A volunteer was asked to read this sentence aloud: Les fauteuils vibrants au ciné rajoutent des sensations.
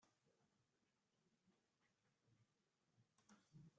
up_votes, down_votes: 0, 2